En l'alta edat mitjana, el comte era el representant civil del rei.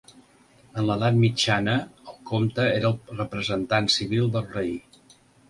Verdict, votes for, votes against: rejected, 0, 2